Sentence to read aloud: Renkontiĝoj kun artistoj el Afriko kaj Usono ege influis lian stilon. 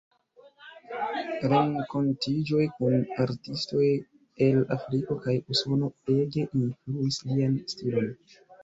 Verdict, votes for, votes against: rejected, 0, 2